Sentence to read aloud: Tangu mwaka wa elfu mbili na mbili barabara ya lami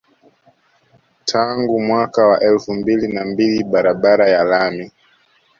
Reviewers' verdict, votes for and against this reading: accepted, 2, 1